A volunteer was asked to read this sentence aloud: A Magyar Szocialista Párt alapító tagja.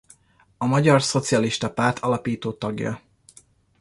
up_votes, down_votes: 2, 0